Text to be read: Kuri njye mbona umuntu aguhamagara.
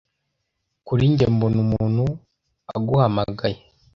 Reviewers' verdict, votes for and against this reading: rejected, 0, 2